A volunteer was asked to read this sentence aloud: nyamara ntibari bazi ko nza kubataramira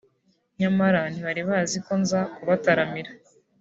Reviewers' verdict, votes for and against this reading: accepted, 2, 0